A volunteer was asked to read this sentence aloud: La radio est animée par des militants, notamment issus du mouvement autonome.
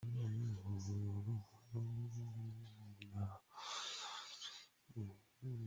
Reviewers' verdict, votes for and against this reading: rejected, 0, 2